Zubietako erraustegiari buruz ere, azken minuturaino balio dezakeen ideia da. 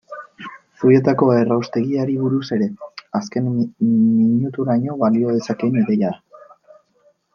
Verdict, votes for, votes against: rejected, 1, 2